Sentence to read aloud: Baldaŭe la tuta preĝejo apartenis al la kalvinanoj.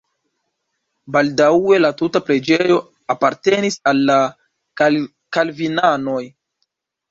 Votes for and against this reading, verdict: 1, 3, rejected